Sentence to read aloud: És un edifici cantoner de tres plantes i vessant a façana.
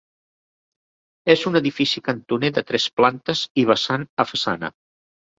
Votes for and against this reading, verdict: 3, 0, accepted